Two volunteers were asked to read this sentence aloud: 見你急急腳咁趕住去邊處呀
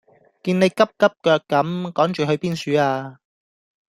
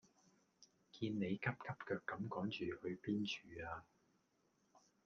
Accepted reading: first